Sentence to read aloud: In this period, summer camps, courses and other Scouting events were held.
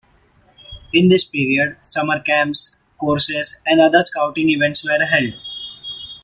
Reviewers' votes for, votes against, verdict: 2, 0, accepted